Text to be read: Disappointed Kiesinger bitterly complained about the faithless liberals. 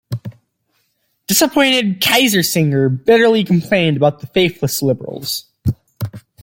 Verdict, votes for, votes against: accepted, 2, 1